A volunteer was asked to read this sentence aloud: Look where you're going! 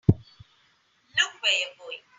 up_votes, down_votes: 2, 0